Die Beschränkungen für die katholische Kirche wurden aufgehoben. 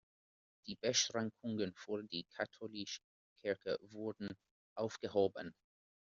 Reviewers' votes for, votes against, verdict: 1, 2, rejected